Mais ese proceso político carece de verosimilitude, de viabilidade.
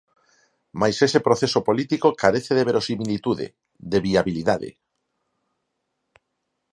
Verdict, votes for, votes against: accepted, 4, 0